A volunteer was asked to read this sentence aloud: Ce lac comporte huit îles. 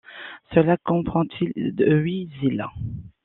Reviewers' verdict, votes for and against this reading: rejected, 0, 2